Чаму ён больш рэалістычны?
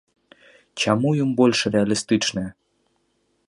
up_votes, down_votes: 2, 0